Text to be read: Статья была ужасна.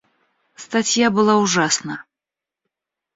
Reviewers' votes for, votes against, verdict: 2, 0, accepted